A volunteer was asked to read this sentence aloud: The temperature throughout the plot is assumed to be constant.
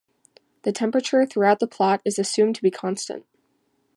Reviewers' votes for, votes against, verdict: 2, 0, accepted